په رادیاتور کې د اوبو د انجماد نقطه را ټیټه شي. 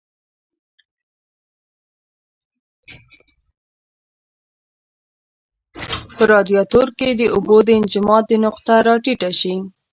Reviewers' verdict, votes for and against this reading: rejected, 1, 3